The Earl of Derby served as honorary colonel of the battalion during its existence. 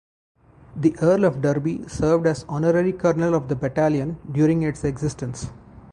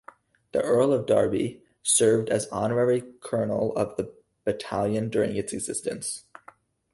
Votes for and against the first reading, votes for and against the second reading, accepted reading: 2, 2, 4, 0, second